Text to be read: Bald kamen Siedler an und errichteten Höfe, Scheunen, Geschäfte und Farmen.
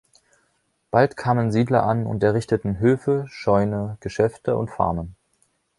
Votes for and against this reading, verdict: 2, 3, rejected